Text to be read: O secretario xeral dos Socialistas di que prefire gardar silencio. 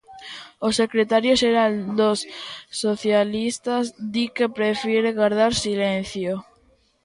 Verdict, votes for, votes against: accepted, 2, 0